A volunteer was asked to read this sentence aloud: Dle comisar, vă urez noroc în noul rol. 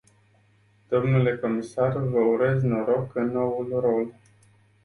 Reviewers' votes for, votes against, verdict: 0, 2, rejected